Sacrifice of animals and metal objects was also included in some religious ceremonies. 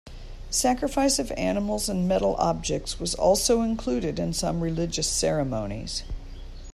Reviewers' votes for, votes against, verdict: 2, 0, accepted